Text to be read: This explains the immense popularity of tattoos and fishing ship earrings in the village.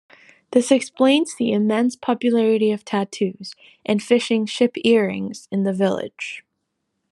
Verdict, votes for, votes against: accepted, 2, 0